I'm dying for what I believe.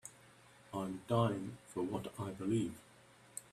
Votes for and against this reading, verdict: 1, 2, rejected